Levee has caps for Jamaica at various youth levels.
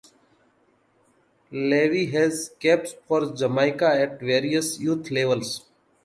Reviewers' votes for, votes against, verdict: 2, 0, accepted